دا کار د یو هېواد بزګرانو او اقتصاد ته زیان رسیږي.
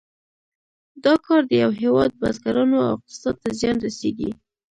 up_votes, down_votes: 0, 2